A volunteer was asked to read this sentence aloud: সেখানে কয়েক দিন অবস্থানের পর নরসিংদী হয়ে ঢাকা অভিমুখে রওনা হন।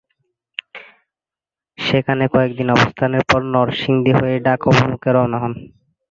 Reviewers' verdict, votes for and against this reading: accepted, 2, 0